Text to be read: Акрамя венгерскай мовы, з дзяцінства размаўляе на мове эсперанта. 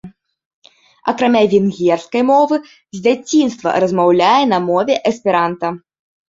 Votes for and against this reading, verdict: 2, 0, accepted